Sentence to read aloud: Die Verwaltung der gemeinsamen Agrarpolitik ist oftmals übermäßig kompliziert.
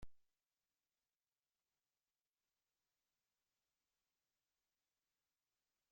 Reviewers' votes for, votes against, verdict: 0, 2, rejected